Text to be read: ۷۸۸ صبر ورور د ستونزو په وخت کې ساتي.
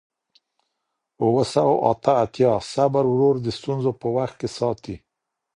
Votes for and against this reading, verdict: 0, 2, rejected